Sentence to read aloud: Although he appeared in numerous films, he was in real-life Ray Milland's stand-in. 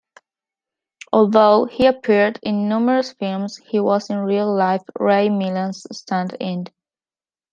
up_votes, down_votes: 2, 0